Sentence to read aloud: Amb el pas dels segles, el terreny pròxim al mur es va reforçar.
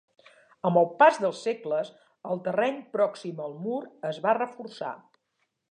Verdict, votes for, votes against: accepted, 4, 0